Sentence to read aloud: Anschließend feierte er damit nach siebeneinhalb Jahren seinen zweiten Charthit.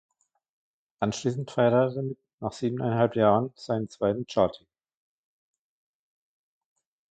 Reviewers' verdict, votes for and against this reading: rejected, 0, 2